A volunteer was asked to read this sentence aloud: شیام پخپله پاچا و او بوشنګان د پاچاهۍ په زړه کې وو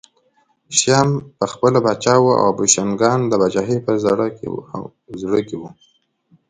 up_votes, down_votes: 1, 2